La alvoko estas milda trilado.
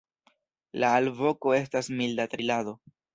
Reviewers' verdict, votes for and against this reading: rejected, 1, 2